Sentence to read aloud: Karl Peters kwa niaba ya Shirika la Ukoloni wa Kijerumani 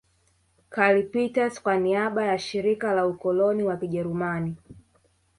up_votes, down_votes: 0, 2